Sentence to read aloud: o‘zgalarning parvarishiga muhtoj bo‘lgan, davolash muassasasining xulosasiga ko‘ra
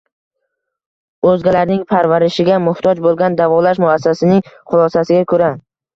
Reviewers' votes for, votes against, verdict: 1, 2, rejected